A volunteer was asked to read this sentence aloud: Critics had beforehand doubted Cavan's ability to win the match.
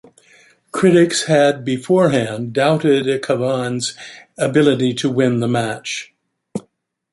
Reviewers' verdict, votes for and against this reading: rejected, 0, 2